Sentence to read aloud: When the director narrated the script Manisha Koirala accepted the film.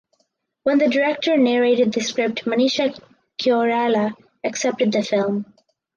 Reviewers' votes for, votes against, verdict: 4, 2, accepted